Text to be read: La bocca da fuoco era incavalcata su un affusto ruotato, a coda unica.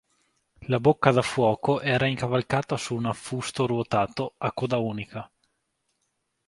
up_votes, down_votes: 2, 0